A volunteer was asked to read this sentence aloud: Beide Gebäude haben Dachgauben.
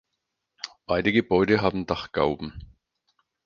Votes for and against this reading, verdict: 4, 0, accepted